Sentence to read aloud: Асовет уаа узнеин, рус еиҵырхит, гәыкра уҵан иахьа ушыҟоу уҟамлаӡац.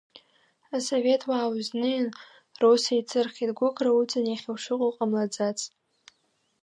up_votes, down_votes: 1, 2